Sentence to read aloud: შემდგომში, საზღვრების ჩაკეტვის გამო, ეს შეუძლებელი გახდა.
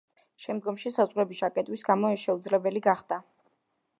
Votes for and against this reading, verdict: 2, 0, accepted